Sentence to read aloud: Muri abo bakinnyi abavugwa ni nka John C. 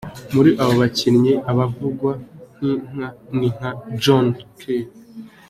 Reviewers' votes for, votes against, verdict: 2, 1, accepted